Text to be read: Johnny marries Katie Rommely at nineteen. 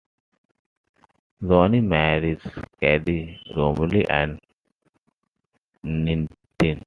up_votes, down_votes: 0, 2